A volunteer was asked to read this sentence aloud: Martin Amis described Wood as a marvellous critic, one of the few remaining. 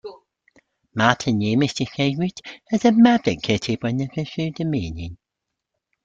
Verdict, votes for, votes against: rejected, 0, 3